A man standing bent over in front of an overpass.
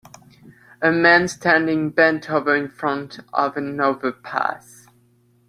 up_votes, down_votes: 2, 1